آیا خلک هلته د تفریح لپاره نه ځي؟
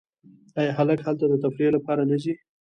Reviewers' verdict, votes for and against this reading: rejected, 1, 2